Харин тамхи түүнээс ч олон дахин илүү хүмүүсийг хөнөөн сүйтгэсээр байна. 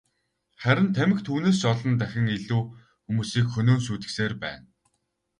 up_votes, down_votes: 0, 2